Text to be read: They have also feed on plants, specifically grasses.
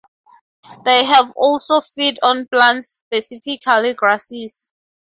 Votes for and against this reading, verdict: 4, 0, accepted